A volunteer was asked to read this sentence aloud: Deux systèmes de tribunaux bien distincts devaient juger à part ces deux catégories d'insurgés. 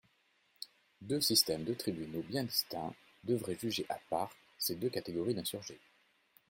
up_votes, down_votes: 1, 2